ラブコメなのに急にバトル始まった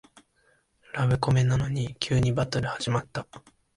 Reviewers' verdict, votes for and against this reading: accepted, 2, 0